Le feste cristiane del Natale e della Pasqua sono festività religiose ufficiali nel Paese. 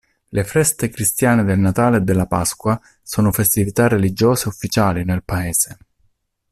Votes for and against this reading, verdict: 2, 0, accepted